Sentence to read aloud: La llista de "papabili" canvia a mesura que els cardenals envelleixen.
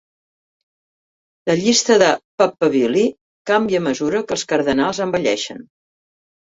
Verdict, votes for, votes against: accepted, 2, 1